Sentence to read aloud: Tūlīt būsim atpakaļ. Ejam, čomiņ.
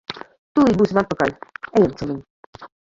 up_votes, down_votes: 0, 2